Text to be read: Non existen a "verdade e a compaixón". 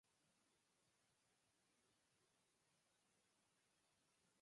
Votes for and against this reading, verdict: 0, 4, rejected